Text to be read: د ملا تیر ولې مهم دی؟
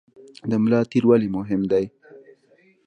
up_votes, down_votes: 1, 2